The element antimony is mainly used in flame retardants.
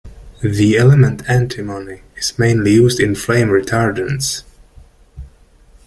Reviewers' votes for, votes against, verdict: 1, 2, rejected